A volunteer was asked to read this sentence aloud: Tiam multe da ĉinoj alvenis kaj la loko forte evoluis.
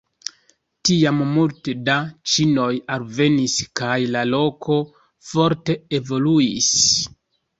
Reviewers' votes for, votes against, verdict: 2, 0, accepted